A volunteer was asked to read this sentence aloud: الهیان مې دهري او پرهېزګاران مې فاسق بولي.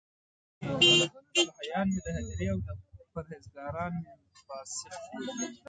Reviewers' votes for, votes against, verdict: 1, 2, rejected